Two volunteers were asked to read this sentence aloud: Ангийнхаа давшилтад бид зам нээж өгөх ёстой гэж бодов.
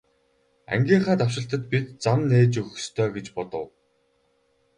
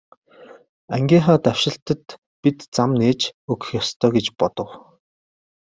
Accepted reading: first